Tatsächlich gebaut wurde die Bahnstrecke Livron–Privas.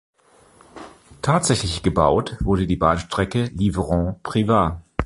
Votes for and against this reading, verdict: 2, 0, accepted